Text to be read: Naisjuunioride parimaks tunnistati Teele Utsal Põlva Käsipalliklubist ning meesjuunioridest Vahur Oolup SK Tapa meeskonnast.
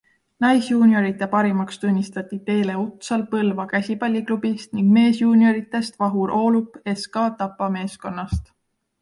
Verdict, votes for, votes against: accepted, 2, 0